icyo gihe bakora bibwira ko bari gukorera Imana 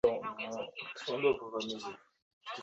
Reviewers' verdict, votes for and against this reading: rejected, 0, 2